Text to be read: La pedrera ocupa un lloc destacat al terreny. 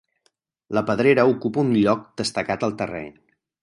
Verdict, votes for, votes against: rejected, 2, 4